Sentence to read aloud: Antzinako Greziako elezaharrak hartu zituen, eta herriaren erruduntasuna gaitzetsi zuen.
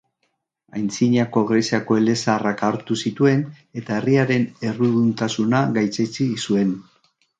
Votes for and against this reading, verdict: 1, 2, rejected